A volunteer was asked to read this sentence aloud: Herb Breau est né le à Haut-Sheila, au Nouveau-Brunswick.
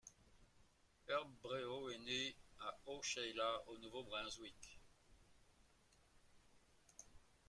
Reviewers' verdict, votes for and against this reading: accepted, 2, 1